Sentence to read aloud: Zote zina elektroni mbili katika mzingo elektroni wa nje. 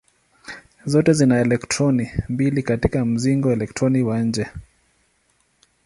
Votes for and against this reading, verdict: 7, 0, accepted